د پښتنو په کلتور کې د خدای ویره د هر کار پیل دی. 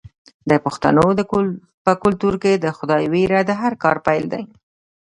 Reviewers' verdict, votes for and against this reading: accepted, 2, 0